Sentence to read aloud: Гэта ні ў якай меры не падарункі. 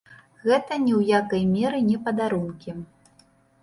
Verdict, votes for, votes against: accepted, 2, 0